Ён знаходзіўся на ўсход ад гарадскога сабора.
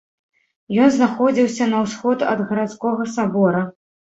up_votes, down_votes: 2, 0